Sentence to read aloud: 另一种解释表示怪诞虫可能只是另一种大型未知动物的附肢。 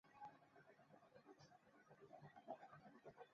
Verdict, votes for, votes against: rejected, 0, 2